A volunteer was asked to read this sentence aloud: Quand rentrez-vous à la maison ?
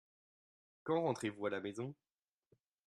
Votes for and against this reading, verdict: 3, 1, accepted